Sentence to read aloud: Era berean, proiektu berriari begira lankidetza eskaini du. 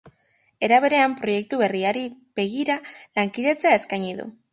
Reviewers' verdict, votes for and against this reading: accepted, 2, 1